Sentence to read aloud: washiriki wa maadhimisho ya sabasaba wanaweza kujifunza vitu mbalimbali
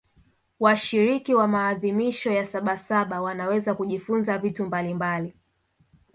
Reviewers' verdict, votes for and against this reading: rejected, 0, 2